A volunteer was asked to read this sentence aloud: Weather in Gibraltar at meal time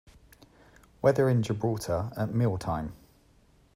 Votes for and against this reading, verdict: 2, 0, accepted